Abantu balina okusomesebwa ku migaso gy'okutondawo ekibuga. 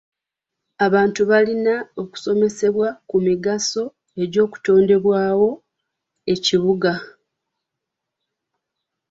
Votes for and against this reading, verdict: 0, 2, rejected